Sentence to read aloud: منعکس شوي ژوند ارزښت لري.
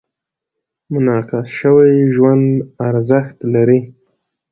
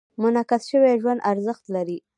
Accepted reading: first